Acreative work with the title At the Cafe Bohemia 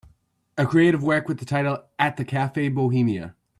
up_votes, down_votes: 2, 0